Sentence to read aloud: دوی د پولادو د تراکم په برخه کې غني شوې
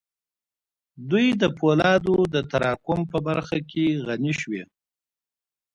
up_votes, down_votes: 0, 2